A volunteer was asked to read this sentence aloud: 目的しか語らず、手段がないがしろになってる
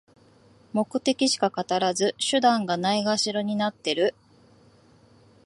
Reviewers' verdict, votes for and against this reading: accepted, 5, 0